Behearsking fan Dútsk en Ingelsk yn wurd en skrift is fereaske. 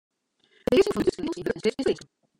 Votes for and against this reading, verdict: 0, 2, rejected